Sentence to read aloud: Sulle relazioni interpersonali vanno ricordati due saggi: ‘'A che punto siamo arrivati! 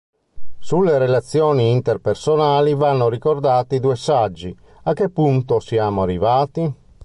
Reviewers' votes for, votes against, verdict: 2, 3, rejected